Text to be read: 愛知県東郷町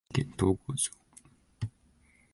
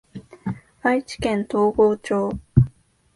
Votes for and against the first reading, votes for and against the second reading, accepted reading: 1, 2, 3, 1, second